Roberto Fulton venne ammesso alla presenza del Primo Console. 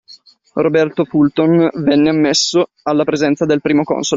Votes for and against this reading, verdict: 1, 2, rejected